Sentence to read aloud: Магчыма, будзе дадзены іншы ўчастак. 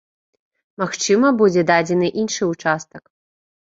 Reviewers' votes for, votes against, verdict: 2, 0, accepted